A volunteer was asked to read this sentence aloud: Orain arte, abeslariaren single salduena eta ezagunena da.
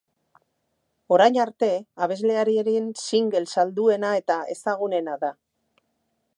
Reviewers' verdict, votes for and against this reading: rejected, 2, 4